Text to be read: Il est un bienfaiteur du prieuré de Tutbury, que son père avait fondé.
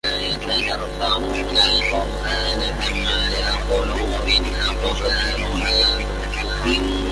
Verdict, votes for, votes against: rejected, 0, 2